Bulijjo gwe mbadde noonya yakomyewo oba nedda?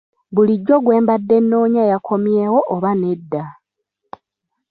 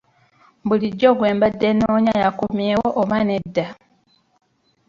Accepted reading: first